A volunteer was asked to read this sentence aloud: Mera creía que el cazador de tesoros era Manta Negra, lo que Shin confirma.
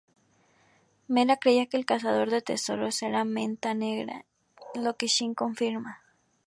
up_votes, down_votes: 0, 2